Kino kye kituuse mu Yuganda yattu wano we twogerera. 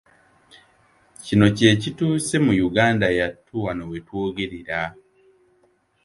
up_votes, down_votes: 2, 0